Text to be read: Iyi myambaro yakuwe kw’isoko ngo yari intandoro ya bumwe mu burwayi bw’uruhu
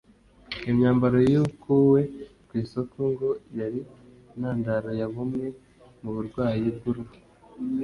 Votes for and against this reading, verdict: 1, 2, rejected